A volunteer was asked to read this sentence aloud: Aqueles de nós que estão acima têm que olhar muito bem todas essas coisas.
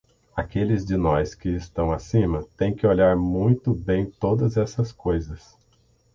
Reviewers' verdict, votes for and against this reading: accepted, 6, 0